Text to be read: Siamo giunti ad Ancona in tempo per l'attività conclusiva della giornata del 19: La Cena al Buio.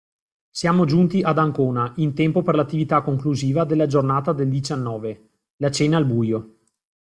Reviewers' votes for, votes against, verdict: 0, 2, rejected